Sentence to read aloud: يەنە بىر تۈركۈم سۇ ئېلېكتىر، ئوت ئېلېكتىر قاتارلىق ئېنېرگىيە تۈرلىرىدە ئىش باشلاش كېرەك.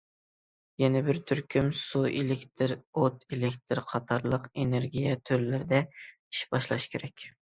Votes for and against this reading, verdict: 2, 0, accepted